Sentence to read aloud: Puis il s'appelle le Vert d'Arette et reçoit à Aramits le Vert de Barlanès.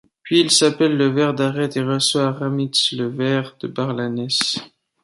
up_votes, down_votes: 1, 2